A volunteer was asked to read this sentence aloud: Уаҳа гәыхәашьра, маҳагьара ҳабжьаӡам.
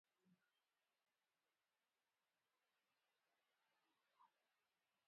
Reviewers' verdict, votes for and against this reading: rejected, 0, 2